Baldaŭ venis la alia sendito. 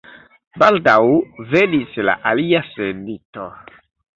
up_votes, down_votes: 0, 2